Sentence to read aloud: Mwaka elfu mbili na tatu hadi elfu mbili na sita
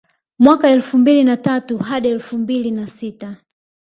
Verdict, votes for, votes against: rejected, 1, 2